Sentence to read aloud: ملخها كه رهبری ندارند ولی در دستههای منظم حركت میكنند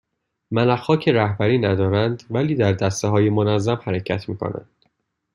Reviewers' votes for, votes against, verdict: 2, 1, accepted